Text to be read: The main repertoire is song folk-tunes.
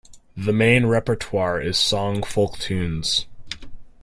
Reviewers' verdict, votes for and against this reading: accepted, 2, 0